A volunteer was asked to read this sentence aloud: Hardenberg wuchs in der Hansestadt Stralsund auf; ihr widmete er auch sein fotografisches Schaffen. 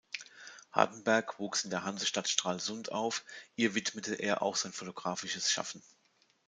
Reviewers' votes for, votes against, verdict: 2, 0, accepted